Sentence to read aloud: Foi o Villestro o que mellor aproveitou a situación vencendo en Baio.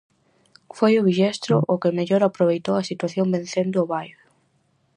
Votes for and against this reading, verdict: 0, 4, rejected